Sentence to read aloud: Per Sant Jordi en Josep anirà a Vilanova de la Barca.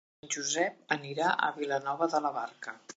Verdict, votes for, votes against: rejected, 1, 3